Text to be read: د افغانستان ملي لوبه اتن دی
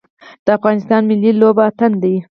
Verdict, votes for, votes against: accepted, 4, 0